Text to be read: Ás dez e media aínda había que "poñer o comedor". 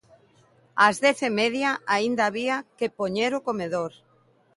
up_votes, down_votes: 2, 0